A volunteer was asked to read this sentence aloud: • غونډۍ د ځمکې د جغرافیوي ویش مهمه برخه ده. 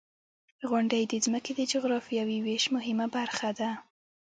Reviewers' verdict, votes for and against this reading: rejected, 1, 2